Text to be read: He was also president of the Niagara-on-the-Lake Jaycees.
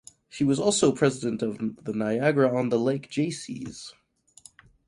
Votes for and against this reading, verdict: 0, 4, rejected